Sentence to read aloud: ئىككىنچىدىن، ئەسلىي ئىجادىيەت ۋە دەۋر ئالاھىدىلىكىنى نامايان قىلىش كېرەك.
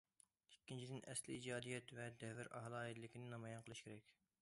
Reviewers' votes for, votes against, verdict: 2, 0, accepted